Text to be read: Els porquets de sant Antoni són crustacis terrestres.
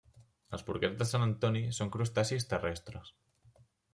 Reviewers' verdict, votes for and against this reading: accepted, 2, 0